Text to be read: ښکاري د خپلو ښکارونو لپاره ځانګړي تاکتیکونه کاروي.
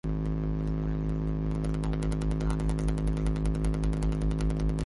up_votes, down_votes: 0, 3